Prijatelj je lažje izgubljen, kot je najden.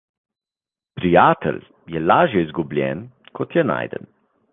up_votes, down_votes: 2, 0